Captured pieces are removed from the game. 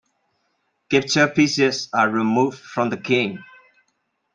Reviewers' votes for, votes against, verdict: 2, 0, accepted